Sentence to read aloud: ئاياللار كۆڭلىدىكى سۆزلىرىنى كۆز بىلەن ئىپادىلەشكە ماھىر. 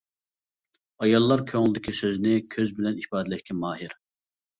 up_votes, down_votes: 0, 2